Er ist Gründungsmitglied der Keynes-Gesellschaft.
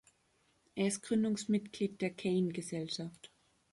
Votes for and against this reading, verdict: 0, 2, rejected